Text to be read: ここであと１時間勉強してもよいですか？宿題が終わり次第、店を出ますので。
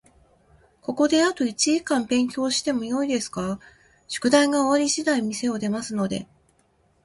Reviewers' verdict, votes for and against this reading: rejected, 0, 2